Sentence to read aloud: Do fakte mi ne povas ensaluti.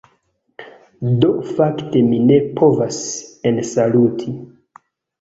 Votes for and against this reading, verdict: 2, 1, accepted